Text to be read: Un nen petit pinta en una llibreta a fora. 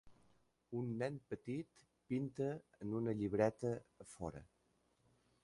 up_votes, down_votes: 3, 0